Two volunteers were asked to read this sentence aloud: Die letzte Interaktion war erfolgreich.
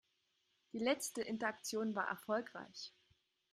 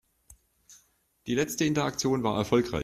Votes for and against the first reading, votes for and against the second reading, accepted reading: 3, 0, 0, 2, first